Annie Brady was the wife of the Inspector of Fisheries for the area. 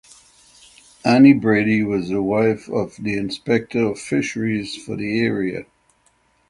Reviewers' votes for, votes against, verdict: 6, 0, accepted